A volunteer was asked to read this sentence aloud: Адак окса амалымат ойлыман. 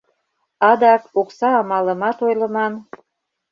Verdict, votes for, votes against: accepted, 2, 0